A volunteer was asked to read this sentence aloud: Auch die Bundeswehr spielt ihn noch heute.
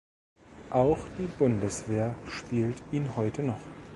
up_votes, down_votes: 0, 2